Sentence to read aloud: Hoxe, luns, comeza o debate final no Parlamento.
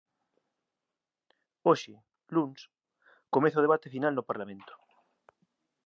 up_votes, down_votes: 2, 0